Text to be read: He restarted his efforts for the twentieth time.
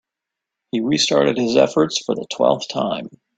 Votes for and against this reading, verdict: 0, 3, rejected